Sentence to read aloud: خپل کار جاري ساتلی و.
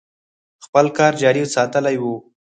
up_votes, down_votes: 4, 0